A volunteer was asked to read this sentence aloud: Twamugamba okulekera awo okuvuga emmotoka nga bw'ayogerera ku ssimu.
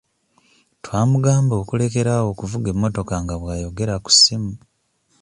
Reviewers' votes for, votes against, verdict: 2, 0, accepted